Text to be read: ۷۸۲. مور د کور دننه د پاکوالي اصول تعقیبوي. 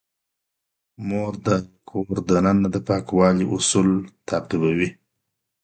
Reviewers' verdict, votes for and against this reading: rejected, 0, 2